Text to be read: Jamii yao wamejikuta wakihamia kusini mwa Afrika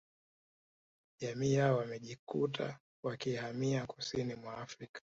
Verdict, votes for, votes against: accepted, 3, 1